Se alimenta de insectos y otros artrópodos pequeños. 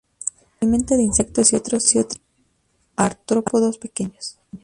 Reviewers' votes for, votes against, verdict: 0, 2, rejected